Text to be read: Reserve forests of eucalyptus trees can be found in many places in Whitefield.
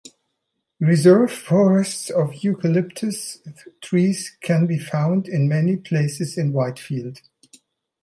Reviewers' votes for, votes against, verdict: 1, 2, rejected